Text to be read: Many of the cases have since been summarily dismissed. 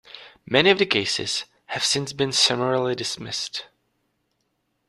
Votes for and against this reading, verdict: 2, 0, accepted